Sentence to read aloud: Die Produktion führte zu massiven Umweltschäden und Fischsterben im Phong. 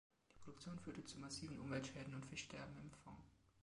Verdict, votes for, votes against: accepted, 2, 1